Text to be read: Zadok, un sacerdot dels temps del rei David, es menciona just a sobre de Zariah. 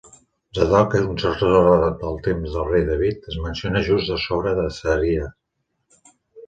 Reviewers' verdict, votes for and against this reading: rejected, 0, 2